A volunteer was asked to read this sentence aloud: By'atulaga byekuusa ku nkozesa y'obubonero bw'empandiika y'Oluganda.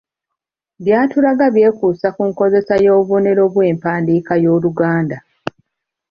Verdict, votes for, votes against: accepted, 2, 0